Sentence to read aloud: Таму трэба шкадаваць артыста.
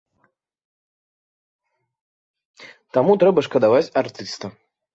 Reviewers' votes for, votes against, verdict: 3, 0, accepted